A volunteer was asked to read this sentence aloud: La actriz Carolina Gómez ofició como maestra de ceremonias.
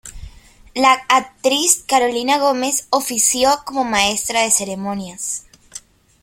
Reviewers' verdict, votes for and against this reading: rejected, 1, 2